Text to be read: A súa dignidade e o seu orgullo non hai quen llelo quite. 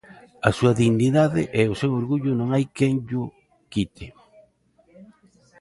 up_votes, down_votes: 0, 2